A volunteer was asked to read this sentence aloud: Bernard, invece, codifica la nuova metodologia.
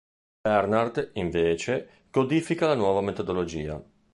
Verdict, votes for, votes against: accepted, 2, 0